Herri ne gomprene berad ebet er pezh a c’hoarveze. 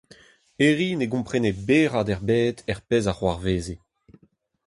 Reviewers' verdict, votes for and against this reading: rejected, 0, 4